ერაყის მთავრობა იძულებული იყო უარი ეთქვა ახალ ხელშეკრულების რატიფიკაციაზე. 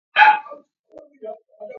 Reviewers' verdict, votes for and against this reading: rejected, 0, 2